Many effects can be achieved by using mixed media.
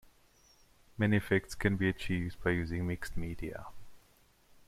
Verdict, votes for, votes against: accepted, 2, 0